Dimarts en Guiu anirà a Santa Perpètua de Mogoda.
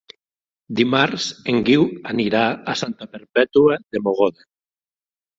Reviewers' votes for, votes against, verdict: 6, 0, accepted